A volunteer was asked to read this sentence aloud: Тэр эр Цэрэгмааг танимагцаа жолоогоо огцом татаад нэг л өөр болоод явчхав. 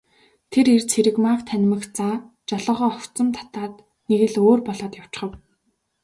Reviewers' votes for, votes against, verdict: 2, 0, accepted